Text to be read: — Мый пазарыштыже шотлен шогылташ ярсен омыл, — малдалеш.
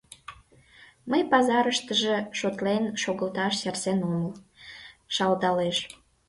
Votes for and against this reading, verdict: 1, 2, rejected